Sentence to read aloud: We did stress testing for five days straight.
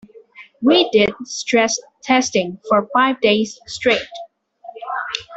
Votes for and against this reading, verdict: 2, 0, accepted